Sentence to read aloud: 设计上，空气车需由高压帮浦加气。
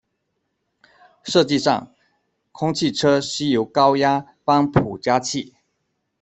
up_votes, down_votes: 2, 0